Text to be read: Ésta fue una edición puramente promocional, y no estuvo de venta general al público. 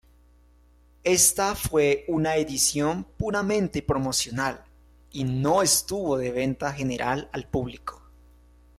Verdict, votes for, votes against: accepted, 2, 0